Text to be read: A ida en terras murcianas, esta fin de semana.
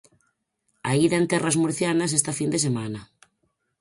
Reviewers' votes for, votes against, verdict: 4, 0, accepted